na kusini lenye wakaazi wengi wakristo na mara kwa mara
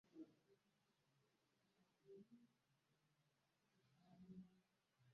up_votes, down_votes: 0, 2